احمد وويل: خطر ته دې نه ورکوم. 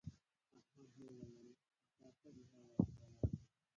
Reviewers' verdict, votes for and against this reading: rejected, 0, 2